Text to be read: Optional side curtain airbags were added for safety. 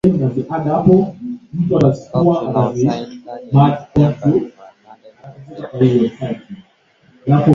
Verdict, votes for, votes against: rejected, 0, 8